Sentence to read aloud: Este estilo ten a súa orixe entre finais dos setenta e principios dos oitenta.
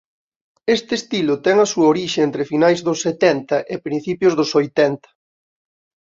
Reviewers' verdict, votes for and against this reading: accepted, 2, 0